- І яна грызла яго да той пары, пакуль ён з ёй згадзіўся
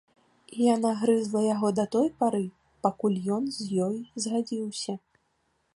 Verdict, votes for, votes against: accepted, 2, 1